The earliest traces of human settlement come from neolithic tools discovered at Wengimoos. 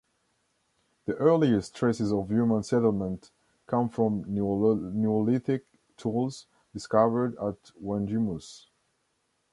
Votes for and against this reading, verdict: 1, 2, rejected